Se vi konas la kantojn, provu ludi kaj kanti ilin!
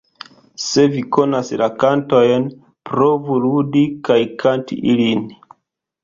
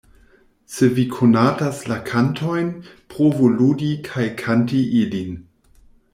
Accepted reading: first